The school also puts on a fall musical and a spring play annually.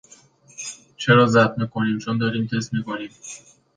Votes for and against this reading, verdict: 0, 2, rejected